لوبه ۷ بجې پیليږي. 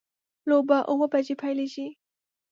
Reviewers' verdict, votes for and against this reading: rejected, 0, 2